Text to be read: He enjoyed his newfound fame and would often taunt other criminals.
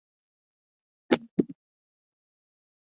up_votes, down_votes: 0, 2